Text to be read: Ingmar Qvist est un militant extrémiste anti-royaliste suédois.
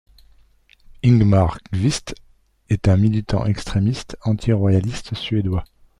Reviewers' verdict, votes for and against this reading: accepted, 2, 0